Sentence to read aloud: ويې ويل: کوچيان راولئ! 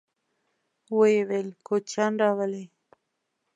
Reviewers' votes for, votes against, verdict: 2, 0, accepted